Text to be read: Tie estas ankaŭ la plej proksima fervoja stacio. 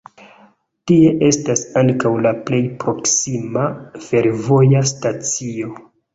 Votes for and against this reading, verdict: 2, 0, accepted